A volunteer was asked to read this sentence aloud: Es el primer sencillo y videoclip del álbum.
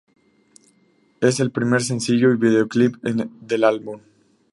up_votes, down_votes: 2, 2